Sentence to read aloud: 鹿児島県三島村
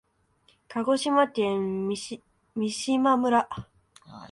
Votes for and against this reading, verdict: 1, 2, rejected